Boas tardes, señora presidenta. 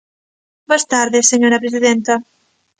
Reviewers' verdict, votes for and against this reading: accepted, 2, 0